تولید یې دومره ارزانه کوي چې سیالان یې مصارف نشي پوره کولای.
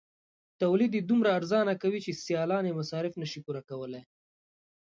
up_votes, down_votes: 2, 0